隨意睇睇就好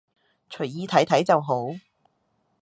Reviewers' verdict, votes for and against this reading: accepted, 2, 0